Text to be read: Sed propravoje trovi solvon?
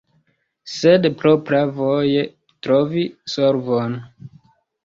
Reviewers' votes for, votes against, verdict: 1, 2, rejected